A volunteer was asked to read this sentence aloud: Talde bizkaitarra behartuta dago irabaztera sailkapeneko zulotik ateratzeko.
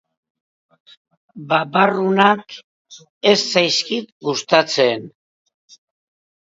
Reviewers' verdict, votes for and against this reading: rejected, 0, 3